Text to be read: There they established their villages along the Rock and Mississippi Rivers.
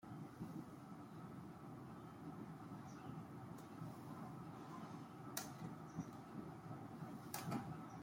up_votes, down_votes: 0, 2